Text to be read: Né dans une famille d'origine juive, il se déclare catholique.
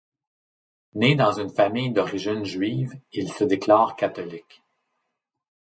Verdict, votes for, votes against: accepted, 2, 0